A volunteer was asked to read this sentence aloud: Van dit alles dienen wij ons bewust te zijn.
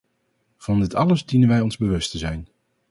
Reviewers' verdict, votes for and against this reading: accepted, 2, 0